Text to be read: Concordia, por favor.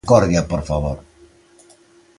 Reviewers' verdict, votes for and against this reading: rejected, 0, 2